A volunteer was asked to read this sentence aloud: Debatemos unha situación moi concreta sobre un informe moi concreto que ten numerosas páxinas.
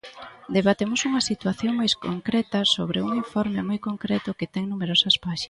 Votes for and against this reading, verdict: 0, 2, rejected